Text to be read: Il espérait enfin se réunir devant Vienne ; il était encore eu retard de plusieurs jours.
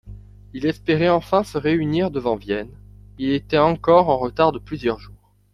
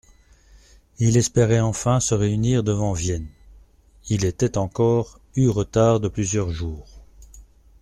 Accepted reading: second